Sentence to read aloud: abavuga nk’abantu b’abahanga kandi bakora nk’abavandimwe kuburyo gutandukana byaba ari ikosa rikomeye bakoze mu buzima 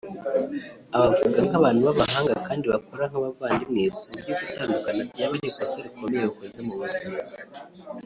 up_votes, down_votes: 0, 2